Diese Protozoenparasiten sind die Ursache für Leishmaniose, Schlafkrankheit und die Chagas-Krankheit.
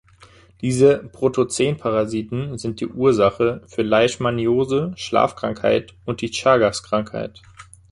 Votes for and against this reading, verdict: 1, 2, rejected